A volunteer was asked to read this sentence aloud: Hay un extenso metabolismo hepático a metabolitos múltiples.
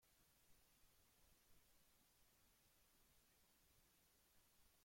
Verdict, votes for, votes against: rejected, 0, 2